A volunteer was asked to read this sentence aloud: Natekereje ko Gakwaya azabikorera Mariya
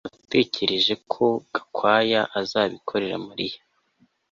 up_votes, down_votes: 2, 0